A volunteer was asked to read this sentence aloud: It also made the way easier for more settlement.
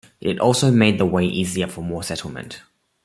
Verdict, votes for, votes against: accepted, 2, 0